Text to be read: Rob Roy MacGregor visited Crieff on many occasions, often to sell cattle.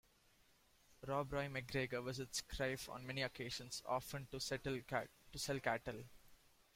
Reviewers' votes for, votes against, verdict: 0, 2, rejected